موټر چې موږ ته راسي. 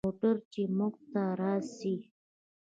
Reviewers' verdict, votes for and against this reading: accepted, 2, 0